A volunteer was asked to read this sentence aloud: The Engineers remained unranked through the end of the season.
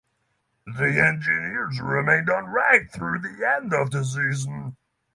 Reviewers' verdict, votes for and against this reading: accepted, 6, 0